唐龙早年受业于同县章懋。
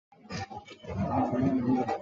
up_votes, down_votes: 2, 1